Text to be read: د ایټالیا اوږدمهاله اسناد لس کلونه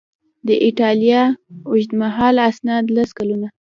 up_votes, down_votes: 0, 2